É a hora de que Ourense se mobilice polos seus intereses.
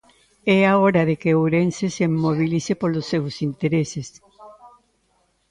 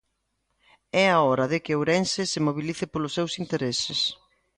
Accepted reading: second